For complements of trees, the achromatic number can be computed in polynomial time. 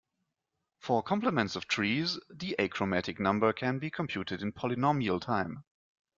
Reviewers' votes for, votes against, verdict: 2, 0, accepted